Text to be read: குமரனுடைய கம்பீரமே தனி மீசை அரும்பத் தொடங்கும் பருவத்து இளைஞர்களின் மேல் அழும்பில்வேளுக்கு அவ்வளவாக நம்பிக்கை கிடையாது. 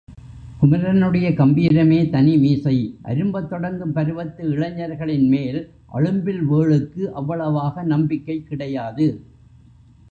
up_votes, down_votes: 2, 3